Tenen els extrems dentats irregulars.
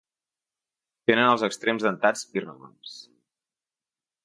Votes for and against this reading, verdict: 2, 0, accepted